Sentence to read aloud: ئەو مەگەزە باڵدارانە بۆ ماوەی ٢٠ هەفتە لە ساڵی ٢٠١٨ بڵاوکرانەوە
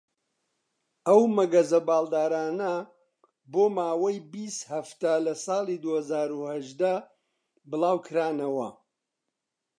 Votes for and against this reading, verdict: 0, 2, rejected